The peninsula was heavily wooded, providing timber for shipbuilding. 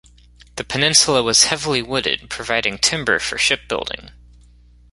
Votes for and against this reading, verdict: 2, 0, accepted